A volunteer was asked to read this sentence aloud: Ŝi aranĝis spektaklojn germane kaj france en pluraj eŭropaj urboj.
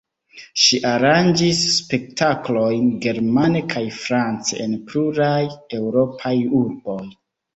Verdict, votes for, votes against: accepted, 3, 1